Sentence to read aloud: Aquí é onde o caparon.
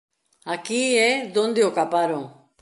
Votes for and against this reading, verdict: 0, 2, rejected